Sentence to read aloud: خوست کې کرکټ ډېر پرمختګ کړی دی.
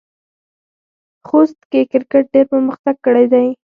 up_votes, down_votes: 0, 4